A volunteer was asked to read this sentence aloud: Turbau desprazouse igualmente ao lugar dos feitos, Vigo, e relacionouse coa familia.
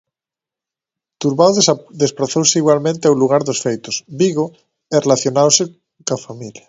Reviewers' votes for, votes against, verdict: 1, 2, rejected